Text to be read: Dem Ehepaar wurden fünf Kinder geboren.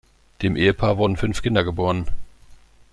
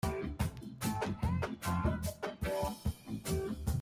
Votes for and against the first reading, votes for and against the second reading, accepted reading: 2, 0, 0, 2, first